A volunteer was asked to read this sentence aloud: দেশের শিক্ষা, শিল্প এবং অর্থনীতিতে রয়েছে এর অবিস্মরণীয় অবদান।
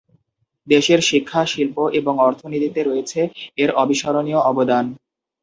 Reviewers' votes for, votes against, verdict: 4, 0, accepted